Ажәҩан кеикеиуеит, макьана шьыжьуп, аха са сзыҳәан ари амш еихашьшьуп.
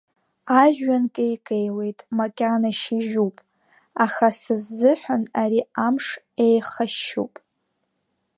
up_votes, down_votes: 7, 0